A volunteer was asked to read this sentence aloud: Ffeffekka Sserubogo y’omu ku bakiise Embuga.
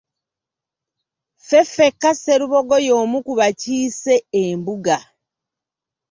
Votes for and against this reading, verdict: 2, 0, accepted